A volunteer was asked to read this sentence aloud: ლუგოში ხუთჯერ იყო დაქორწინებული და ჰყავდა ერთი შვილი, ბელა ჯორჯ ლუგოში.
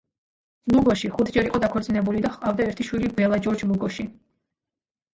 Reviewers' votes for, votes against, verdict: 1, 2, rejected